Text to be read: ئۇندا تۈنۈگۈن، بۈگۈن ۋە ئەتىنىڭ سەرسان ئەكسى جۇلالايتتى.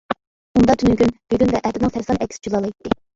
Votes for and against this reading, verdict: 0, 2, rejected